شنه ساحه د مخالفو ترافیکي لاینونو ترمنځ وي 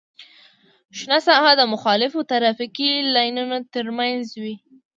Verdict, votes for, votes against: accepted, 2, 0